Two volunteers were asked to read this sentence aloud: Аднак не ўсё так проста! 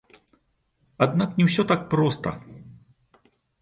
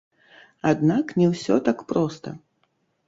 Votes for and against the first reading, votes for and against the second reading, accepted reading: 2, 1, 1, 2, first